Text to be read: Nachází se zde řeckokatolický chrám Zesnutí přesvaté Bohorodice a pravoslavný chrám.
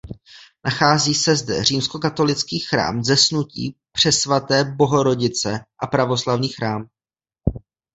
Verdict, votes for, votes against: rejected, 0, 2